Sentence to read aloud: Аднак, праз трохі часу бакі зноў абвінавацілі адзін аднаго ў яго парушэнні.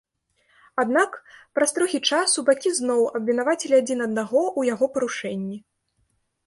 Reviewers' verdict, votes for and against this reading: accepted, 2, 0